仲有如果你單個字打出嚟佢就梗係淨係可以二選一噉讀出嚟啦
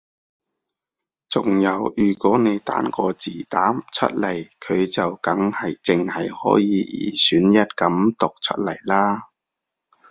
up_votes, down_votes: 0, 2